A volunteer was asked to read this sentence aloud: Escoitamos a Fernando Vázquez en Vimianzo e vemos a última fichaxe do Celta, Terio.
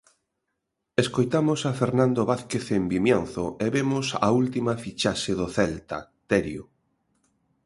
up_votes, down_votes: 3, 0